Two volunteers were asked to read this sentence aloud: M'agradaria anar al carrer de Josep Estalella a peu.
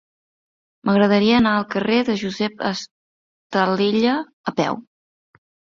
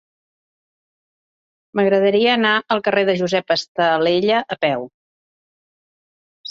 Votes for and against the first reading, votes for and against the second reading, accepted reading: 1, 2, 3, 0, second